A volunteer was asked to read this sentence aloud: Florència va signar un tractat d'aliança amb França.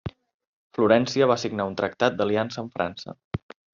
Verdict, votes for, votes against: accepted, 3, 0